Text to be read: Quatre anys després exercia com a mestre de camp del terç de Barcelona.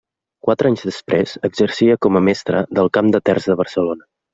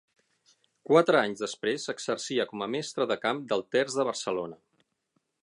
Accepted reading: second